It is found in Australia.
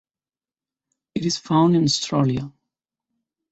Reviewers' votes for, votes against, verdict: 1, 2, rejected